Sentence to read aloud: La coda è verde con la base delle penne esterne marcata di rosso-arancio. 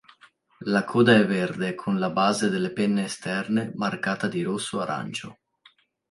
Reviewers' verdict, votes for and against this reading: accepted, 2, 0